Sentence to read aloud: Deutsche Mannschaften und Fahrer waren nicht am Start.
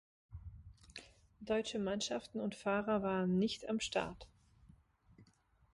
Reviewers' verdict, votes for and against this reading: accepted, 3, 0